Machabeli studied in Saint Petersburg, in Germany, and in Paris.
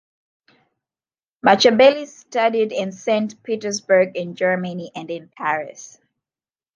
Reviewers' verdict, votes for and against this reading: accepted, 2, 0